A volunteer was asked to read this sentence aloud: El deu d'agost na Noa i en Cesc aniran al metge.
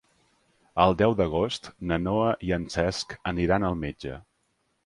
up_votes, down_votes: 2, 0